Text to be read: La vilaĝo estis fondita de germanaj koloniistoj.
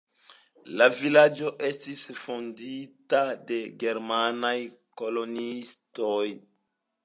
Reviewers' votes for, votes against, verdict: 2, 0, accepted